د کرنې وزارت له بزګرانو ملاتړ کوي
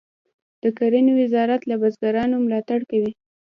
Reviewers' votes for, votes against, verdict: 2, 0, accepted